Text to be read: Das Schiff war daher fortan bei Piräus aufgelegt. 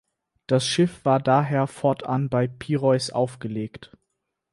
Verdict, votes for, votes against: rejected, 0, 4